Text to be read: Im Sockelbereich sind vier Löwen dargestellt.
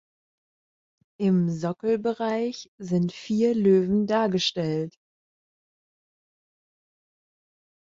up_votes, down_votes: 2, 0